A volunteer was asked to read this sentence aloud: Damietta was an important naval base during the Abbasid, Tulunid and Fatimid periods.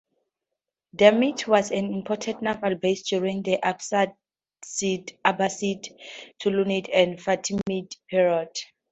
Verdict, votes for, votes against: rejected, 0, 2